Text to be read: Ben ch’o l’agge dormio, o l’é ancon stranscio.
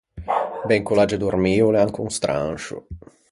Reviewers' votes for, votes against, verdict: 2, 4, rejected